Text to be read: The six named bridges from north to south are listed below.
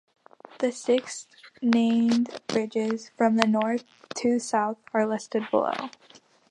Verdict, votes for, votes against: accepted, 2, 1